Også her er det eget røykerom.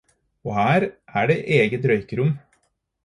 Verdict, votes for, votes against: rejected, 2, 4